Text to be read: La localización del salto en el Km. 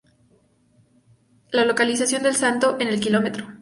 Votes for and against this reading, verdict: 2, 0, accepted